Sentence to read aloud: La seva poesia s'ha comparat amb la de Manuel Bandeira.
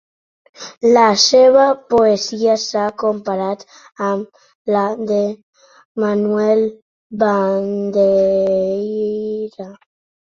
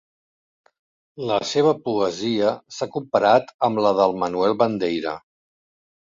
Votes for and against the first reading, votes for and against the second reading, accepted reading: 3, 0, 0, 2, first